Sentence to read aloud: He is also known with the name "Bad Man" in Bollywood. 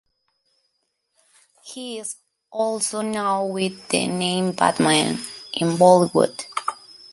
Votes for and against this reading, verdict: 2, 0, accepted